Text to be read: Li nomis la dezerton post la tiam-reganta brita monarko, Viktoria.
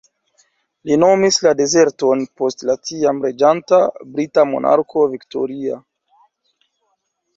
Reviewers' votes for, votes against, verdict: 0, 2, rejected